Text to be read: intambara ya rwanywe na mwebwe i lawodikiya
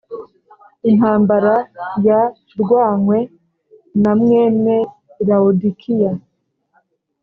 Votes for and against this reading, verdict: 1, 2, rejected